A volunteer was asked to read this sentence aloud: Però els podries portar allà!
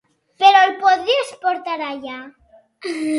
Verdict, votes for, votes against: rejected, 3, 6